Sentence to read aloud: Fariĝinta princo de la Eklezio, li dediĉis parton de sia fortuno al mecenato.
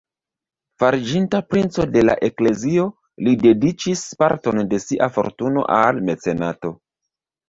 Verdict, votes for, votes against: rejected, 1, 2